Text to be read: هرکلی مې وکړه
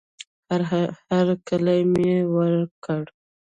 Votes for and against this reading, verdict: 1, 2, rejected